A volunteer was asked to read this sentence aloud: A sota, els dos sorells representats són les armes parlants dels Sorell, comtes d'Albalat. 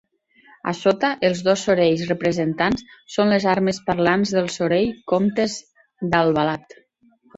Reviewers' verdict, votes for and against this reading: rejected, 0, 2